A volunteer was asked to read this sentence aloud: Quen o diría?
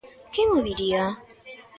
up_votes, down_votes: 2, 0